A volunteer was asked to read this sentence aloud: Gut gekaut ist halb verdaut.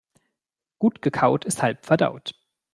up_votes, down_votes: 2, 0